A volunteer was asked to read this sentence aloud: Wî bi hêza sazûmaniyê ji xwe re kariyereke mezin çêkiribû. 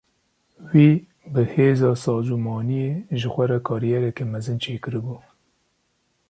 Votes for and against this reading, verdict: 2, 0, accepted